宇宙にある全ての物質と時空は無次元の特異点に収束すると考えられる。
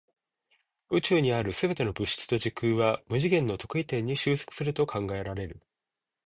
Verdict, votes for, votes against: accepted, 2, 0